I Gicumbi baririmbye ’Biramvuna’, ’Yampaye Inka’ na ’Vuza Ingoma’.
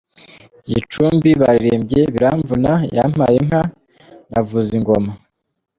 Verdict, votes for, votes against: rejected, 0, 2